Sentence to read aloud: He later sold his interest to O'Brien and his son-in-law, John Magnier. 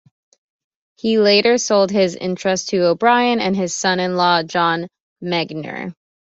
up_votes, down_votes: 2, 0